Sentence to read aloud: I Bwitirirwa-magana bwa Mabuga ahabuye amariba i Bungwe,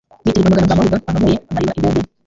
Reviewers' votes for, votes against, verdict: 0, 2, rejected